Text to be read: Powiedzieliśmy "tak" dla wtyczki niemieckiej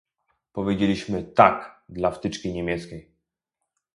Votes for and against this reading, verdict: 2, 0, accepted